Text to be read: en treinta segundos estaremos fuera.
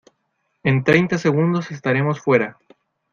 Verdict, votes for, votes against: accepted, 2, 0